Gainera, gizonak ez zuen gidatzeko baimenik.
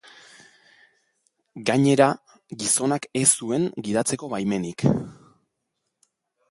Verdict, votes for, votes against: accepted, 3, 0